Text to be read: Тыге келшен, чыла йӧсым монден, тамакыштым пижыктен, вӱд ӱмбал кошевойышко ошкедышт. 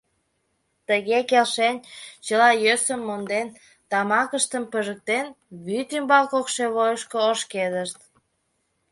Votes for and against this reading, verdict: 2, 0, accepted